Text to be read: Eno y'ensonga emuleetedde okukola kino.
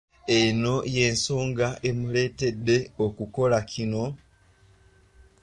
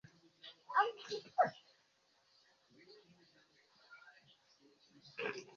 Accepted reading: first